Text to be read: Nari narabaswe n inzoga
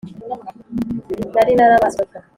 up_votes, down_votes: 1, 2